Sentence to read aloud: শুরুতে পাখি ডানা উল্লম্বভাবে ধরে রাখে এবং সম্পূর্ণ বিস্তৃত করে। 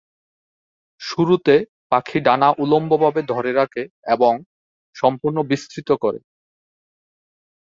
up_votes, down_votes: 4, 0